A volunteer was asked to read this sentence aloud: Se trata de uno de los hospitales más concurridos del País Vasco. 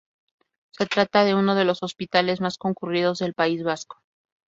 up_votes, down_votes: 0, 2